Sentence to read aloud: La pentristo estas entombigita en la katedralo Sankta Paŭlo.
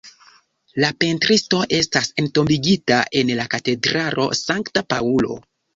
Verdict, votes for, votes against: accepted, 2, 1